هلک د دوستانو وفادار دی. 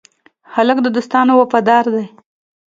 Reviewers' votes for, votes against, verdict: 2, 0, accepted